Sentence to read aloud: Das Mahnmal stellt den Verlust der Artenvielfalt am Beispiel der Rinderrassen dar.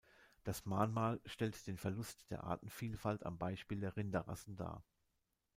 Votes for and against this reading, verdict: 2, 0, accepted